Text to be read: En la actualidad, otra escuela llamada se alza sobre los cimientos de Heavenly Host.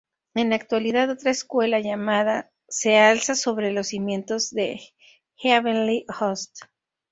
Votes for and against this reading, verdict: 0, 2, rejected